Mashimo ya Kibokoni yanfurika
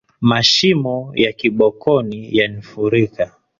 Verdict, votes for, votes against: rejected, 0, 2